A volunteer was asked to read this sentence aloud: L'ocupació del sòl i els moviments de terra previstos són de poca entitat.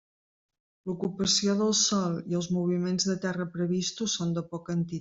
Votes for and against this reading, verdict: 1, 2, rejected